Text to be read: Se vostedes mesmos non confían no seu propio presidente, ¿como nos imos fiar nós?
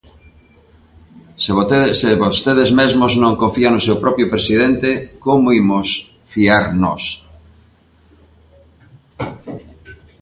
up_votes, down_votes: 0, 2